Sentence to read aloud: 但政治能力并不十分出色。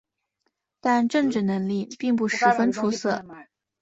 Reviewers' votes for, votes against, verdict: 3, 0, accepted